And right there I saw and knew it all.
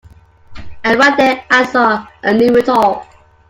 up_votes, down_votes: 2, 1